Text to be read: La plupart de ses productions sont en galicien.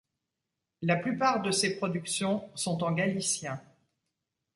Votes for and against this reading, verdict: 2, 0, accepted